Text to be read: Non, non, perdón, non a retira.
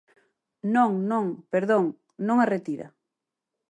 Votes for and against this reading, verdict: 4, 0, accepted